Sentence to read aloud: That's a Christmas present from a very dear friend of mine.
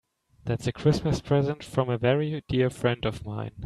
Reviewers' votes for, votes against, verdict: 2, 1, accepted